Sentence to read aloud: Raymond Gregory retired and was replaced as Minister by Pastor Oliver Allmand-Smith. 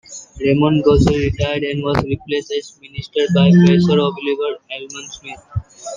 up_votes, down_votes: 0, 2